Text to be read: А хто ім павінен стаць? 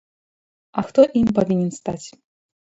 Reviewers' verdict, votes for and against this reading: rejected, 2, 3